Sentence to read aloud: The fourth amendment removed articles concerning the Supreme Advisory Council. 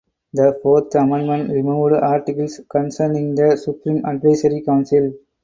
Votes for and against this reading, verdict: 0, 2, rejected